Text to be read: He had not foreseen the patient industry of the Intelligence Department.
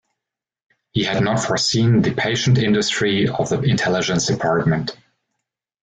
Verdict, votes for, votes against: accepted, 2, 0